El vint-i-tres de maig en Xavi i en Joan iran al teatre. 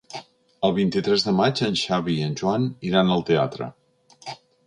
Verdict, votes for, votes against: accepted, 2, 0